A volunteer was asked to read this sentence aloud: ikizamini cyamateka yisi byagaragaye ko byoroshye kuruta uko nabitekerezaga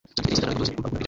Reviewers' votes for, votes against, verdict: 0, 2, rejected